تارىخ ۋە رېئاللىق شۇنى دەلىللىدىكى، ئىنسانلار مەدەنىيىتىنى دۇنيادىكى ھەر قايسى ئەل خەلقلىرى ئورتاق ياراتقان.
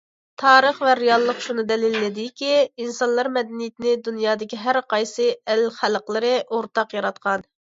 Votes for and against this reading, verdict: 2, 0, accepted